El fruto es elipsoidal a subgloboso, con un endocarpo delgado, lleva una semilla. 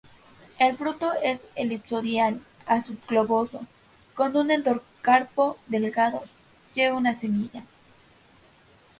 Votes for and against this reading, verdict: 0, 2, rejected